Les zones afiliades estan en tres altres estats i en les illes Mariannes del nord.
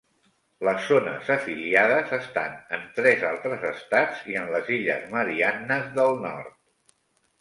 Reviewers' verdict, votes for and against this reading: accepted, 3, 0